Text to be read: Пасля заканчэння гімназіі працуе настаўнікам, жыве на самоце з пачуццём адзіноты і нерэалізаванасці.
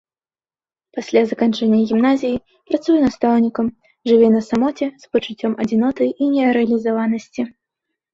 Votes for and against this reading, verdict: 2, 0, accepted